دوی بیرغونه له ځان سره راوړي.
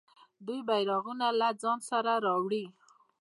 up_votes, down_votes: 2, 0